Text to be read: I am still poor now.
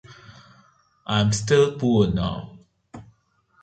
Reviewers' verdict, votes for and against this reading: rejected, 1, 2